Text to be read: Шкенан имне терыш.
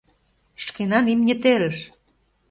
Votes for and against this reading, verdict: 2, 0, accepted